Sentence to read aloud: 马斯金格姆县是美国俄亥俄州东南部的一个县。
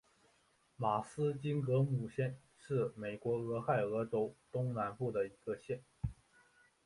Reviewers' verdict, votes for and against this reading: accepted, 2, 0